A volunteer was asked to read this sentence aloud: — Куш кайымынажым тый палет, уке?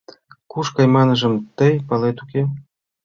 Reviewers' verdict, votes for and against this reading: rejected, 1, 2